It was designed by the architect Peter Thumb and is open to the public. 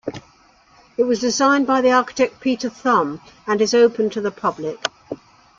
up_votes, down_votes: 2, 0